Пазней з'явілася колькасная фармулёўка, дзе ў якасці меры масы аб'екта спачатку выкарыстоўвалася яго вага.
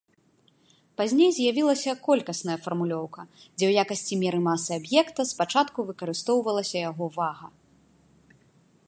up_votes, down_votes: 0, 2